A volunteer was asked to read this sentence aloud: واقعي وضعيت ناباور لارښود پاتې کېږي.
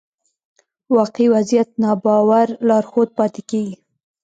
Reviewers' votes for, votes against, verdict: 0, 2, rejected